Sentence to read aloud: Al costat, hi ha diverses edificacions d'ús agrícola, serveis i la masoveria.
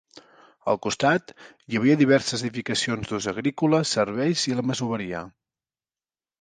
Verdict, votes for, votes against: rejected, 0, 2